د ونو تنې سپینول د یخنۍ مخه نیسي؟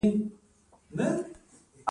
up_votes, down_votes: 2, 1